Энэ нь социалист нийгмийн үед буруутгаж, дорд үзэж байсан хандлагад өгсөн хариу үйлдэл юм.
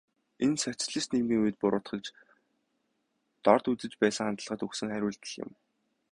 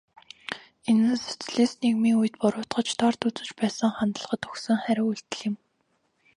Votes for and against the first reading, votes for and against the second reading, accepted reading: 2, 2, 2, 0, second